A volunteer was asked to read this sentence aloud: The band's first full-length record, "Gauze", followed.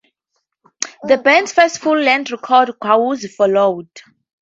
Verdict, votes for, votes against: accepted, 4, 0